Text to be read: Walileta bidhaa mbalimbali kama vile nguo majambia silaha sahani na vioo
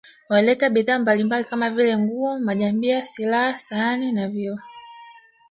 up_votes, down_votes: 2, 1